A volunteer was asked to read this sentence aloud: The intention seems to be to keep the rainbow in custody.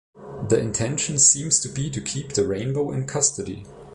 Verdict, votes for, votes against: accepted, 2, 0